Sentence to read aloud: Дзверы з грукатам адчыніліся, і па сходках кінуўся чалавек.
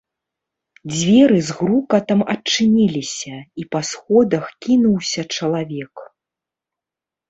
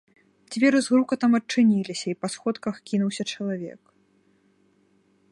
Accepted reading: second